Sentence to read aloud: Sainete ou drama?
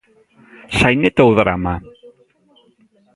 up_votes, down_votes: 1, 2